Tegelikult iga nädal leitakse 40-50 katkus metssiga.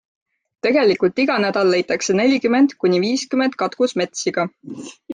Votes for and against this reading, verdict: 0, 2, rejected